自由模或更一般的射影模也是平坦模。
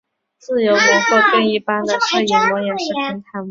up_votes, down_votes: 0, 2